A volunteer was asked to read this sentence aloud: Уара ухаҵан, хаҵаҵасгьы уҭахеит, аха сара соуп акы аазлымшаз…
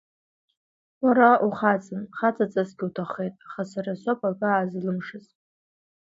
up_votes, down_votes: 1, 2